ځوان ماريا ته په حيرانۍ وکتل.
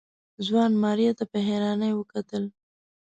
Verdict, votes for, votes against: accepted, 2, 0